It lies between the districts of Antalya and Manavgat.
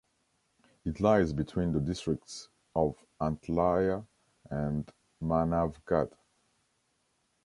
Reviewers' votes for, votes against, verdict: 1, 3, rejected